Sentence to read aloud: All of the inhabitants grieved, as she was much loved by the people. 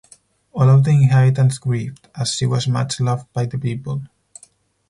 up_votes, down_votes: 0, 4